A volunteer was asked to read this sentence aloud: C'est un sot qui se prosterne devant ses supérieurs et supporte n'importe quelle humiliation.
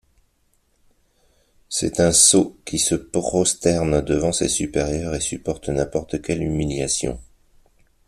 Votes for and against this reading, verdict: 2, 0, accepted